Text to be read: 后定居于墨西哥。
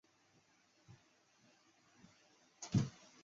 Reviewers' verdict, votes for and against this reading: rejected, 2, 3